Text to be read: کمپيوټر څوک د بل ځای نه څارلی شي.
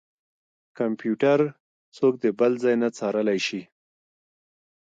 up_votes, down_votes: 3, 2